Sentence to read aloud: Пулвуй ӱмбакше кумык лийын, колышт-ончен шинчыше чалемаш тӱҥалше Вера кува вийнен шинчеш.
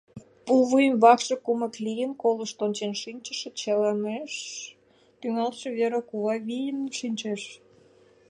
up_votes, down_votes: 1, 2